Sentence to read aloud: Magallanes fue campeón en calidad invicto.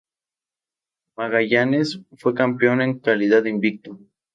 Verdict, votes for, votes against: rejected, 0, 2